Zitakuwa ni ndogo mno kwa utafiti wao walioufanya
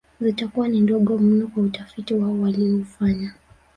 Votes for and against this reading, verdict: 0, 2, rejected